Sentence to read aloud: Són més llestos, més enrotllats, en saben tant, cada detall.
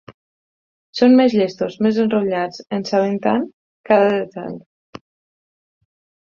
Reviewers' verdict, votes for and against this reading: accepted, 4, 0